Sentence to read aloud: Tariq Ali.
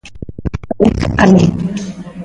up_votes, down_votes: 0, 2